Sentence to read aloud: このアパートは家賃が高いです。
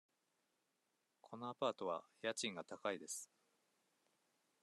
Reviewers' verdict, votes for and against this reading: accepted, 2, 0